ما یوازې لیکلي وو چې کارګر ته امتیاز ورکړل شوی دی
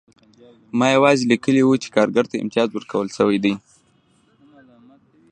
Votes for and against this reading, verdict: 1, 2, rejected